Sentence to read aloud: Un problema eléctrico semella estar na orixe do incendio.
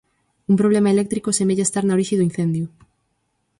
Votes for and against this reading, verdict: 4, 0, accepted